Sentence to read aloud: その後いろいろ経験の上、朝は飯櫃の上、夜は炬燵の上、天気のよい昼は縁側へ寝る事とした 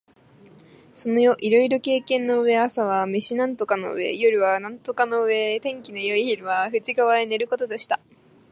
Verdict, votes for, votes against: rejected, 0, 4